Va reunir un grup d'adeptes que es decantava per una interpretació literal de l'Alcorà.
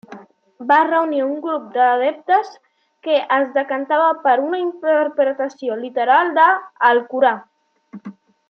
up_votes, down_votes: 0, 2